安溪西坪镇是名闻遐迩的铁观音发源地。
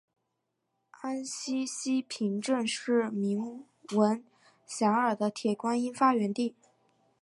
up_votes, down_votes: 2, 0